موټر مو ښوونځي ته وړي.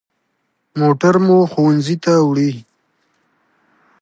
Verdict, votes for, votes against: accepted, 2, 0